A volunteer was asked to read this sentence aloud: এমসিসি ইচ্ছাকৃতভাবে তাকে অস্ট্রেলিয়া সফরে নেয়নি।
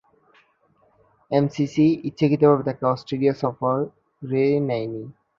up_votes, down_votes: 2, 0